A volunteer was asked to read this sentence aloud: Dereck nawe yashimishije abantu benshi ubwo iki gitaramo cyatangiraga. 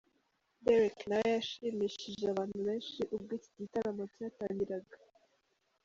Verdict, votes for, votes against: accepted, 3, 2